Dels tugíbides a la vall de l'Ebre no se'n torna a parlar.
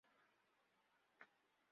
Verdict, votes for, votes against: rejected, 1, 2